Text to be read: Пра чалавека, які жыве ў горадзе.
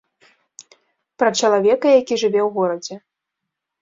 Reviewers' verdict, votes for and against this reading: accepted, 2, 0